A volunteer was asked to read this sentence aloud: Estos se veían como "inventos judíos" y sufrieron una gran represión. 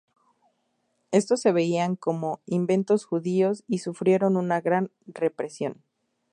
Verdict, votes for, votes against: accepted, 2, 0